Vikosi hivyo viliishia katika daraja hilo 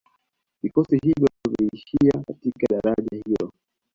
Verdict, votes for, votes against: accepted, 2, 0